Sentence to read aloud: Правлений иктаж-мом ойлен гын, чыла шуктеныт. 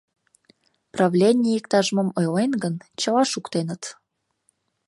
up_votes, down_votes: 2, 0